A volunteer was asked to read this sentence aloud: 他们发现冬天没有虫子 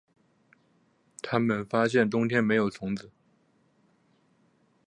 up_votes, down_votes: 2, 0